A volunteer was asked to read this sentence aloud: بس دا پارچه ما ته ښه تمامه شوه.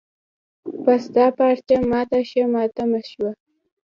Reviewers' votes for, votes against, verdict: 0, 2, rejected